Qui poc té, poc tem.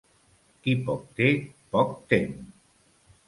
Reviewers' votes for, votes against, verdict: 2, 0, accepted